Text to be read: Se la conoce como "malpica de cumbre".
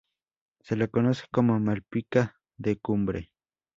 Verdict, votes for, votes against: accepted, 2, 0